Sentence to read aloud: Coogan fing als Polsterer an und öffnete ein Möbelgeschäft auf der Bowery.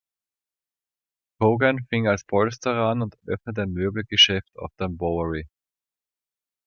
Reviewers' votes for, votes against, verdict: 2, 0, accepted